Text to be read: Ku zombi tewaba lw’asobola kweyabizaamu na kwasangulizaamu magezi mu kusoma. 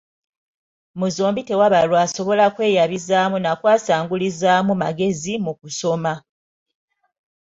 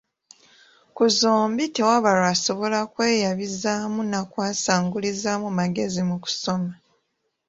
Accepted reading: second